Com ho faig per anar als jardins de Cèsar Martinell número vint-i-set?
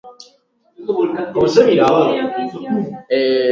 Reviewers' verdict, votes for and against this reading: rejected, 0, 2